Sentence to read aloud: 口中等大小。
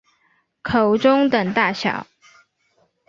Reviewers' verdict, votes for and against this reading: accepted, 4, 0